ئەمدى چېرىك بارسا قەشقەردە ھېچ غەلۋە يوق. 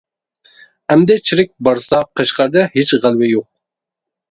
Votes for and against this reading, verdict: 0, 2, rejected